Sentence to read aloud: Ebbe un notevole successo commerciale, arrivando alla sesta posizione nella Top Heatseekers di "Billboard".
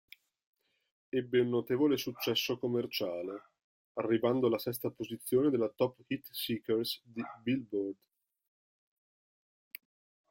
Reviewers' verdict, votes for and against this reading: rejected, 0, 2